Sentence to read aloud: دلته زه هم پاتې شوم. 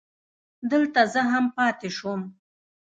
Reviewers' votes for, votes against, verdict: 1, 2, rejected